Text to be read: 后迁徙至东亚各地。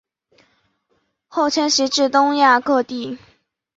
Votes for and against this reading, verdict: 7, 0, accepted